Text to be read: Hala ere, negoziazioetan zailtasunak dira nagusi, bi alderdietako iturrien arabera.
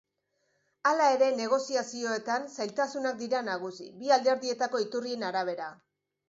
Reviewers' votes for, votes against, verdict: 2, 0, accepted